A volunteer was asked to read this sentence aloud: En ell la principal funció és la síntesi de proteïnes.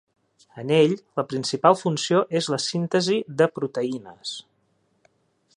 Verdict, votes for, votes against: accepted, 2, 0